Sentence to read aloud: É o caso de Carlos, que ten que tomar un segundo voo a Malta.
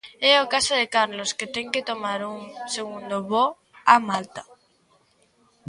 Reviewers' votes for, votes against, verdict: 2, 1, accepted